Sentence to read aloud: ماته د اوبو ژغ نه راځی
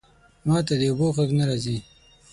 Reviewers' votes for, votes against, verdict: 0, 6, rejected